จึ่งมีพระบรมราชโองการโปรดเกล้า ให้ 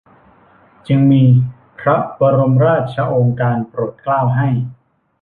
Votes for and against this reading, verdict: 1, 2, rejected